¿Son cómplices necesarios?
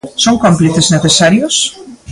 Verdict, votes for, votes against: rejected, 0, 2